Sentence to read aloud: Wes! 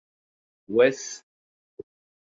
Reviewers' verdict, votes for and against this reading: accepted, 2, 0